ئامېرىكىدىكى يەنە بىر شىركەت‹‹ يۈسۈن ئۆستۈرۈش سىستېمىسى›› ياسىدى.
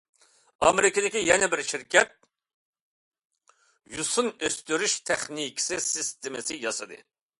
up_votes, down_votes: 0, 2